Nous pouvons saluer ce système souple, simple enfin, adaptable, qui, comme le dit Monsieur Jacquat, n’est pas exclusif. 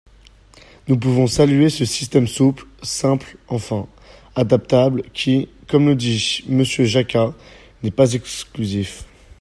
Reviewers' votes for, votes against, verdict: 1, 2, rejected